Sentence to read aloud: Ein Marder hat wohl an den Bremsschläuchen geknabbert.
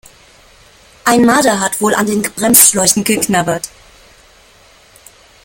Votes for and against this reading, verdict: 1, 2, rejected